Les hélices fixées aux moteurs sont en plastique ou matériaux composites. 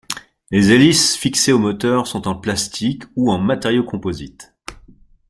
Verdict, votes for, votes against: accepted, 2, 0